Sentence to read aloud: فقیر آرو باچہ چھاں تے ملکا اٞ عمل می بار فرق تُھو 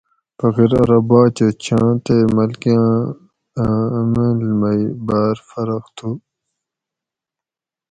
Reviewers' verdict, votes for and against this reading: accepted, 4, 0